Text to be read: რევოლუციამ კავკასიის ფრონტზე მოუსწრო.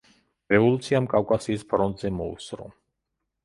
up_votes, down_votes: 2, 0